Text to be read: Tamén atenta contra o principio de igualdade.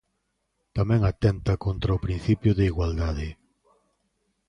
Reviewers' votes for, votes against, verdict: 2, 0, accepted